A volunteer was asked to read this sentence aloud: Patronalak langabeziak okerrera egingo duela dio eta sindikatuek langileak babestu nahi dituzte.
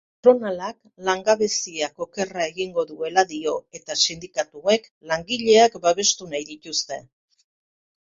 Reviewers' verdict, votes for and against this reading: rejected, 0, 2